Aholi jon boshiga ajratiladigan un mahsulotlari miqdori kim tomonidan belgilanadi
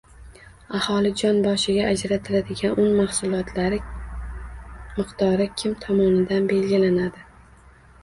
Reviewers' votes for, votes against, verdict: 1, 2, rejected